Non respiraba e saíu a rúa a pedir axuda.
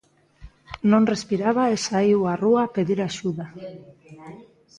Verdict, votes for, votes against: accepted, 2, 0